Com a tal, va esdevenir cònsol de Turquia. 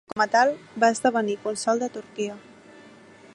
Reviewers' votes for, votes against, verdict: 0, 2, rejected